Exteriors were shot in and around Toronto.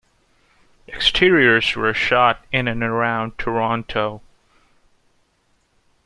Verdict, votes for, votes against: accepted, 2, 0